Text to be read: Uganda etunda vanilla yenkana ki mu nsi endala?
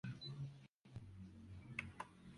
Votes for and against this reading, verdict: 0, 2, rejected